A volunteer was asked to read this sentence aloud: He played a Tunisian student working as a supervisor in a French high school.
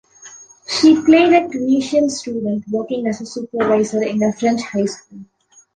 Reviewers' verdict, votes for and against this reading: accepted, 2, 0